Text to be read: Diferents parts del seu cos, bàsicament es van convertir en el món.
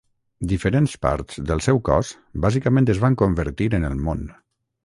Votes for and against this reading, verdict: 3, 0, accepted